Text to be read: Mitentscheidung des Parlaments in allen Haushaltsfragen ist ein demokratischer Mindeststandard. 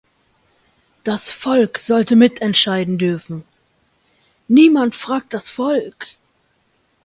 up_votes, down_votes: 0, 2